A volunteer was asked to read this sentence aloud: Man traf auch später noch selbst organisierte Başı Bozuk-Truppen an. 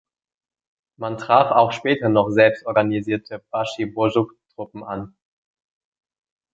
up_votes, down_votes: 2, 1